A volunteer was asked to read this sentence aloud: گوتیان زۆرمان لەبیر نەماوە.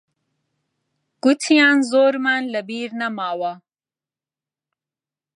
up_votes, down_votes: 0, 2